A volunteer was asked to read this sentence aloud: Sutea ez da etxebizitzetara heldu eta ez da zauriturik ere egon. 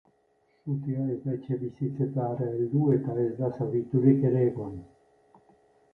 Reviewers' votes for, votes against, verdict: 1, 2, rejected